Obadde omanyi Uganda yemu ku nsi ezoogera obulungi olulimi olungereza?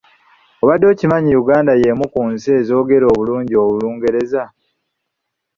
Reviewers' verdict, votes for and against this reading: rejected, 1, 3